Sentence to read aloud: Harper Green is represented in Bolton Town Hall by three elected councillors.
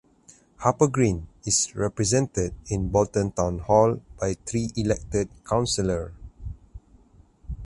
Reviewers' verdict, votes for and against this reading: rejected, 0, 4